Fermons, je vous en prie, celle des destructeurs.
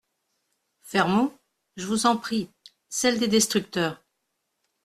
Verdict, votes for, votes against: accepted, 2, 0